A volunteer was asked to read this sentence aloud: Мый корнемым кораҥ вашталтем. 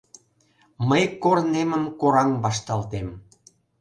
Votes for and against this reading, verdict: 2, 0, accepted